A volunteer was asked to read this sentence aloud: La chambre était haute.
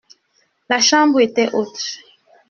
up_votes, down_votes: 2, 0